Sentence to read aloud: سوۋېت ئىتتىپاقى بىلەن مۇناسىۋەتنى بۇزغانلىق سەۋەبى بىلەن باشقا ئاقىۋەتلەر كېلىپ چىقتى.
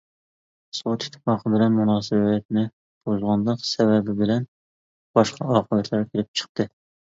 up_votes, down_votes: 1, 2